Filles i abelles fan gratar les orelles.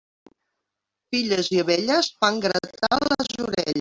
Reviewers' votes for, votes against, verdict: 0, 2, rejected